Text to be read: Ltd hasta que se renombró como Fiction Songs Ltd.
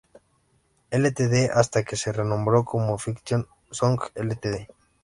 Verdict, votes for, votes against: accepted, 2, 0